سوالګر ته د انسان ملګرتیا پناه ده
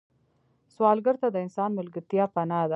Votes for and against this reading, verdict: 2, 1, accepted